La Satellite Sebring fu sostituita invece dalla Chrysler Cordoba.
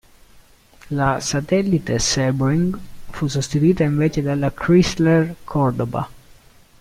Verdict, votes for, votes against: rejected, 1, 2